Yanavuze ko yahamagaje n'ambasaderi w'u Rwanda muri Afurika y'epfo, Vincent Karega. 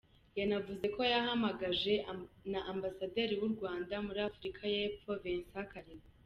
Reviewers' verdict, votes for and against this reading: accepted, 2, 0